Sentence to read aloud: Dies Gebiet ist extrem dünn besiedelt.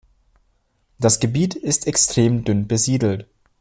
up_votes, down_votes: 1, 2